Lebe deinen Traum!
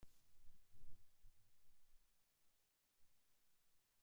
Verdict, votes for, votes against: rejected, 0, 3